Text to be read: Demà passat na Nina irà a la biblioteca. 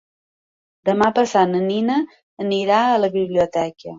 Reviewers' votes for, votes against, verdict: 4, 5, rejected